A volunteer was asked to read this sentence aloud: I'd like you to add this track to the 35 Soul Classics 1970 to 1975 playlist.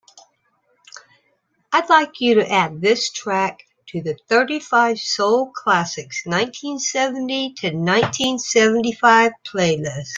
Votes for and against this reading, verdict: 0, 2, rejected